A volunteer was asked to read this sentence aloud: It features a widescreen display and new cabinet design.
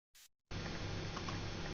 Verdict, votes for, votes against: rejected, 0, 2